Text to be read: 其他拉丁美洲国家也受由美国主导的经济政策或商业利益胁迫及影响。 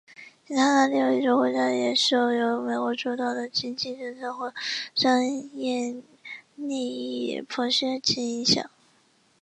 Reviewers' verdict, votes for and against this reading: rejected, 1, 2